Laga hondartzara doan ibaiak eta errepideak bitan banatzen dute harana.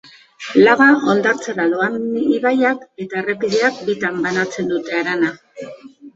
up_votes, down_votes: 1, 2